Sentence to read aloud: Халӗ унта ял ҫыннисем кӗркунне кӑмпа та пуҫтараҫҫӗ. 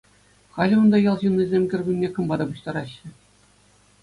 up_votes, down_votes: 2, 0